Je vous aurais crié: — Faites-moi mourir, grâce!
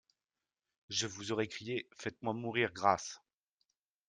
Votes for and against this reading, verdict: 2, 0, accepted